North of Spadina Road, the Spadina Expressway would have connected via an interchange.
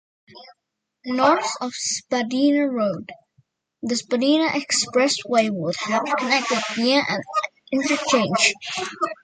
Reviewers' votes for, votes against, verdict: 1, 2, rejected